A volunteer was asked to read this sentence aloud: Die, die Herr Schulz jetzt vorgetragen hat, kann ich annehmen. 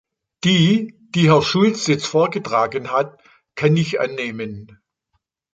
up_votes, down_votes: 2, 0